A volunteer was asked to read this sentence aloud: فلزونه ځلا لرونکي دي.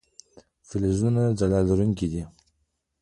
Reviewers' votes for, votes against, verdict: 2, 3, rejected